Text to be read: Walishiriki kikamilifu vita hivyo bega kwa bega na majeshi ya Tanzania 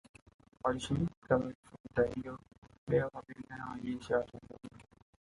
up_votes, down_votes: 0, 2